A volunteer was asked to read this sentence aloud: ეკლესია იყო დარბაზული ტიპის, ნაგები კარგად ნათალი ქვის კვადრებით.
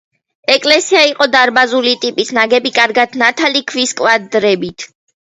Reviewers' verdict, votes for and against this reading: accepted, 2, 0